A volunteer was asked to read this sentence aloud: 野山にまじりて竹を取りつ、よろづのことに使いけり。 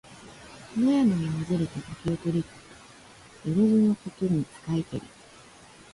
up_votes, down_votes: 2, 0